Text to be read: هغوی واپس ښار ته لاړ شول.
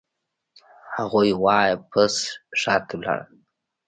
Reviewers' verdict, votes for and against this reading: rejected, 0, 2